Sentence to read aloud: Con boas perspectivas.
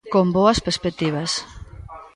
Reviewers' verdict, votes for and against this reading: rejected, 0, 2